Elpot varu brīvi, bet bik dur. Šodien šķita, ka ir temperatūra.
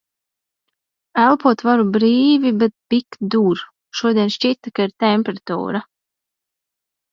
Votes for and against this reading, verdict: 2, 1, accepted